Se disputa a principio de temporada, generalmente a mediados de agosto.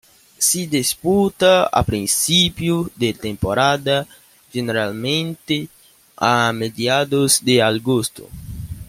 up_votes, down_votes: 0, 2